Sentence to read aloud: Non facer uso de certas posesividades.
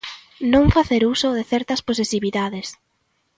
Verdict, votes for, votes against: accepted, 3, 0